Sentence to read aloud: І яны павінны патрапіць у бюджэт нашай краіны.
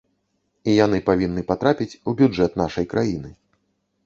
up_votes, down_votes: 2, 0